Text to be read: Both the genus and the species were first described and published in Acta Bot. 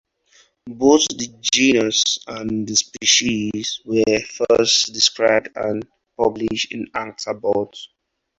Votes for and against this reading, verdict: 0, 4, rejected